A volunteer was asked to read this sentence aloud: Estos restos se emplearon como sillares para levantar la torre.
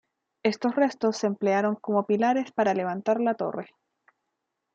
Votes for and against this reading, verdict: 0, 2, rejected